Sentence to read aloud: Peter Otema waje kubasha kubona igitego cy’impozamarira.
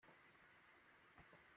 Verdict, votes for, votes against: rejected, 0, 2